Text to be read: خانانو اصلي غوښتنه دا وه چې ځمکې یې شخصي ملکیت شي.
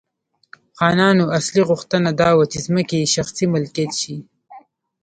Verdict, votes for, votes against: rejected, 1, 2